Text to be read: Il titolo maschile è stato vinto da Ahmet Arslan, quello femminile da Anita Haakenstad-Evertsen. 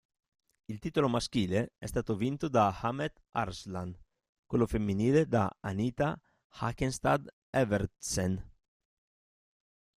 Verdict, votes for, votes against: accepted, 2, 0